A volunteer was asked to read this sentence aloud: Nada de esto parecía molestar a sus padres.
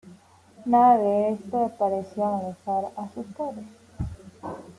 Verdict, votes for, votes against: accepted, 2, 0